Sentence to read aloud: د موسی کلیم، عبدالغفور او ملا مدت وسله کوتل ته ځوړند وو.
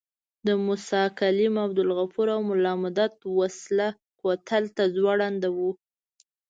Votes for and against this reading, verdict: 2, 0, accepted